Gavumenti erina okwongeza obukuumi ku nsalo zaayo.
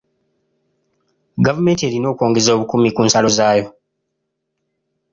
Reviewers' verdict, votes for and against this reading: accepted, 2, 0